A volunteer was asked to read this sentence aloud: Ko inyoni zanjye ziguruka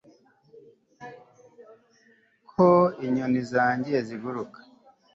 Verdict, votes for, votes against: accepted, 2, 0